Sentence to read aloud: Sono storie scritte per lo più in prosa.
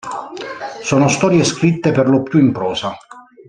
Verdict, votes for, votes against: rejected, 0, 2